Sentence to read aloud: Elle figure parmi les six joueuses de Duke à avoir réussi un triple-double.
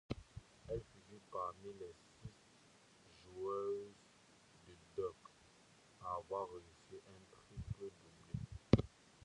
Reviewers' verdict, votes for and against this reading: rejected, 1, 2